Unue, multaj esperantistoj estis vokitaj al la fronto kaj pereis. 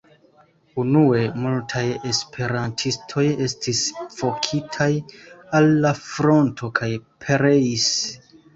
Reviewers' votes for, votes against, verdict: 2, 0, accepted